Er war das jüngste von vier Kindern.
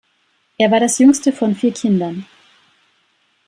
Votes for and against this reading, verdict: 2, 0, accepted